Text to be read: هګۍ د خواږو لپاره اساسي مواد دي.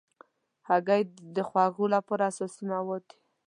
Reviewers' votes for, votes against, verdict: 2, 0, accepted